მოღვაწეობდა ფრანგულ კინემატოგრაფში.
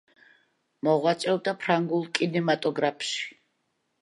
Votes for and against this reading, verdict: 2, 0, accepted